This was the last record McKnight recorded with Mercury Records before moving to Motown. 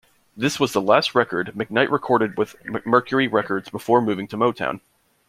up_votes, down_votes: 0, 2